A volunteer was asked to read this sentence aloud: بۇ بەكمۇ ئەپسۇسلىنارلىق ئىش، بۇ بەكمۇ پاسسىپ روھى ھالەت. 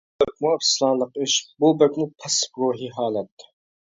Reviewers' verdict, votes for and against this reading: rejected, 0, 2